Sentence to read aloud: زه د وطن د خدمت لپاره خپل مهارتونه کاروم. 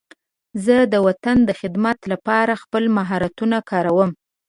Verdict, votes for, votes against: accepted, 2, 0